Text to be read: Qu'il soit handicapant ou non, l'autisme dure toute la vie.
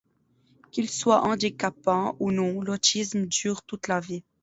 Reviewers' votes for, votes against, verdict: 2, 0, accepted